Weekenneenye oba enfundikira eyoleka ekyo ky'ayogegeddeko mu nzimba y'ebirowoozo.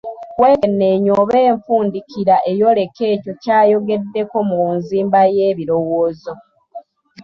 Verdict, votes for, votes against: rejected, 0, 2